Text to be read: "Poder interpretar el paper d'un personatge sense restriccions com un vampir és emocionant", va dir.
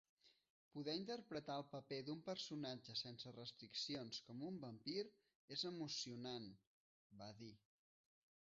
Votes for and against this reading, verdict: 1, 2, rejected